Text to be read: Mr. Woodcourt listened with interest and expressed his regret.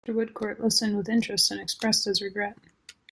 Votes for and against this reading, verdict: 0, 2, rejected